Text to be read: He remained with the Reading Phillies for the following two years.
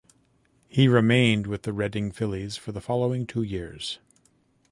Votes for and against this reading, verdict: 1, 2, rejected